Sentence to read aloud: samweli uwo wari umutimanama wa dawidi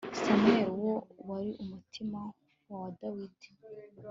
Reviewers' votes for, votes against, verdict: 1, 2, rejected